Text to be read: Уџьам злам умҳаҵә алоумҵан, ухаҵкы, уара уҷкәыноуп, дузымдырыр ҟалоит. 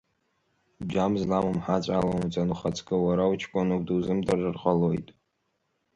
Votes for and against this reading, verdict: 2, 3, rejected